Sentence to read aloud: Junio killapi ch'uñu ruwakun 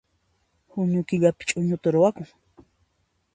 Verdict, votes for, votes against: accepted, 2, 0